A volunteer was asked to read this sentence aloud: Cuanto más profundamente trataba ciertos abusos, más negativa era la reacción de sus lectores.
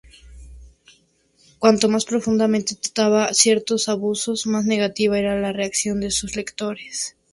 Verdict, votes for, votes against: accepted, 2, 0